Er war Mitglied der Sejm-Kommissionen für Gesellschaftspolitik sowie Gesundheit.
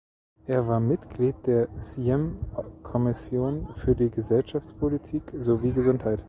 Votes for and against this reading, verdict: 1, 2, rejected